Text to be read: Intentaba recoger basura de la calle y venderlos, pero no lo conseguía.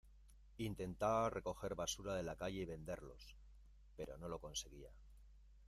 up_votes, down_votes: 0, 2